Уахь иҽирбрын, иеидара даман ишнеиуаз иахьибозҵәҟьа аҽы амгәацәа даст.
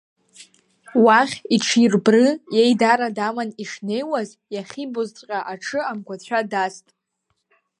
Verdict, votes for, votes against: rejected, 0, 2